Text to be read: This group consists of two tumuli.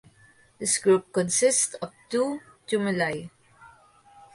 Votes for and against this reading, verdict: 6, 3, accepted